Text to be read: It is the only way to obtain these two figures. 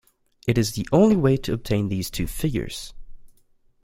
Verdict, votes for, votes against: accepted, 2, 0